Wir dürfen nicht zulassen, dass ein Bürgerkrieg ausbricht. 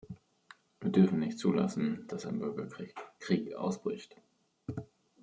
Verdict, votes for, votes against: rejected, 0, 2